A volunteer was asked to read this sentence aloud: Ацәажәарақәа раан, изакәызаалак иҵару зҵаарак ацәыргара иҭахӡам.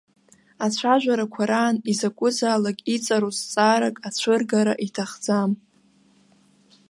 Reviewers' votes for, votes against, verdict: 2, 0, accepted